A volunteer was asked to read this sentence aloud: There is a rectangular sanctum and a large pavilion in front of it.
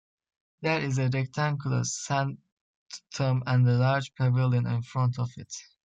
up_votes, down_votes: 1, 2